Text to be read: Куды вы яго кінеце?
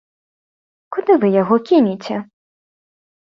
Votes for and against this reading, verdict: 2, 0, accepted